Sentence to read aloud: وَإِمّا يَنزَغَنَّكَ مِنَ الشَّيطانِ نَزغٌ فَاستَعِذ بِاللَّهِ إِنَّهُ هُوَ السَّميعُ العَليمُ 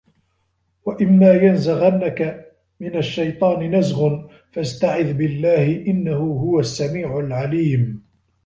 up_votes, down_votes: 2, 1